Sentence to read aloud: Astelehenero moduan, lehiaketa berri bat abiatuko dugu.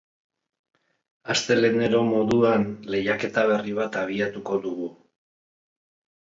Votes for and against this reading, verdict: 2, 0, accepted